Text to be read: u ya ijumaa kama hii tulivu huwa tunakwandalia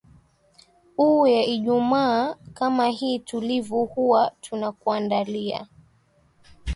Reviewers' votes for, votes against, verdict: 2, 1, accepted